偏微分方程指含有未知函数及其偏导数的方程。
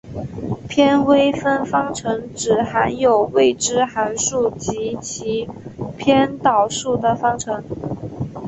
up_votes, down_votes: 3, 0